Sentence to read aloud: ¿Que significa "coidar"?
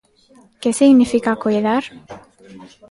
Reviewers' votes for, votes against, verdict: 0, 2, rejected